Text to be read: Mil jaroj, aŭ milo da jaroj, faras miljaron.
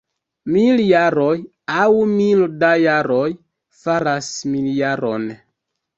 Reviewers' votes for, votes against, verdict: 0, 2, rejected